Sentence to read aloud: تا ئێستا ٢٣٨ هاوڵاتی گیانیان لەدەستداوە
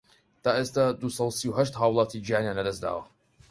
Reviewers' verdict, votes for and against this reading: rejected, 0, 2